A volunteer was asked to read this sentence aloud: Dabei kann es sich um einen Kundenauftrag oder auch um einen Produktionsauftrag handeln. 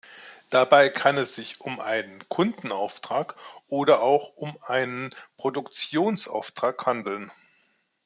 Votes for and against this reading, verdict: 2, 0, accepted